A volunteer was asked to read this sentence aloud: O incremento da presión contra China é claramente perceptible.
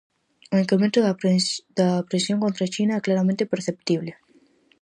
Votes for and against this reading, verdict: 0, 4, rejected